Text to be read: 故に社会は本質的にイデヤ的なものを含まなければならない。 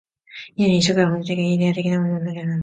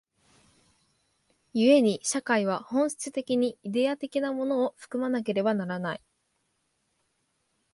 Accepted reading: second